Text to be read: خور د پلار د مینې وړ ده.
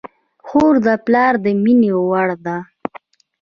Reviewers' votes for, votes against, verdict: 1, 2, rejected